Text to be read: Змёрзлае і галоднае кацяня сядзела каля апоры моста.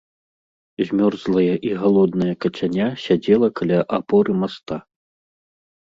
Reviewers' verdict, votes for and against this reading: rejected, 1, 2